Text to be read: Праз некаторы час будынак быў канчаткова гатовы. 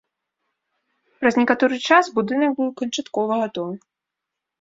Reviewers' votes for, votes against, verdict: 2, 0, accepted